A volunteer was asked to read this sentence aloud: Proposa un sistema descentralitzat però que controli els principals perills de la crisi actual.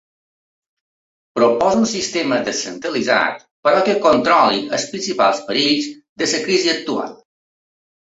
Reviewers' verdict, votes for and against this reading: rejected, 0, 2